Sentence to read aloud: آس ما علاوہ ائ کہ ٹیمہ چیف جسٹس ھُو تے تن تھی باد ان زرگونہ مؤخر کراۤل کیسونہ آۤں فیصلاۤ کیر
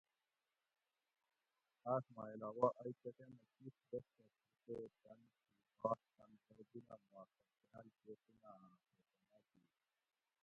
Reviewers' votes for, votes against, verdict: 0, 2, rejected